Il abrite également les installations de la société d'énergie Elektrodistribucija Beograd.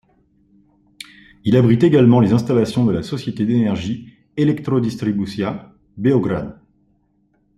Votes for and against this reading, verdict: 2, 0, accepted